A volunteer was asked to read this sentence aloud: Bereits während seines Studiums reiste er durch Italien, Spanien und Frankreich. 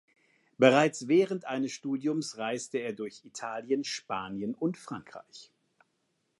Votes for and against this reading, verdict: 0, 2, rejected